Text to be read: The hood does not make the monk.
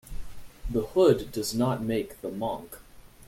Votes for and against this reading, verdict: 2, 0, accepted